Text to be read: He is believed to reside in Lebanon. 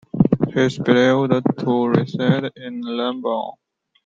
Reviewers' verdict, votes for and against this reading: rejected, 1, 3